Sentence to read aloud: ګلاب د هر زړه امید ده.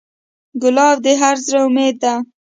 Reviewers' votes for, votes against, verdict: 1, 2, rejected